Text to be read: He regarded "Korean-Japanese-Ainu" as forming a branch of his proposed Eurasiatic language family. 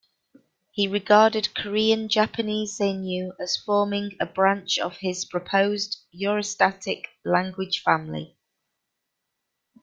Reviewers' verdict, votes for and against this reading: rejected, 0, 2